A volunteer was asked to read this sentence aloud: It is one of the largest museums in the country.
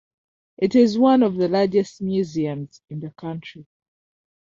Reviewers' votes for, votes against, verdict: 2, 0, accepted